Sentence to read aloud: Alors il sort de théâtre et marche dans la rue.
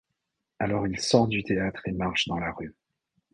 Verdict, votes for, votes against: rejected, 1, 2